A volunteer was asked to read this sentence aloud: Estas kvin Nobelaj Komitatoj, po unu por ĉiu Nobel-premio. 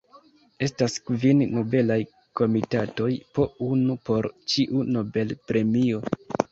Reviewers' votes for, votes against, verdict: 2, 0, accepted